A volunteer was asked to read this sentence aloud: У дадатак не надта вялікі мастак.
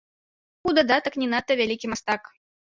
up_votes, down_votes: 2, 0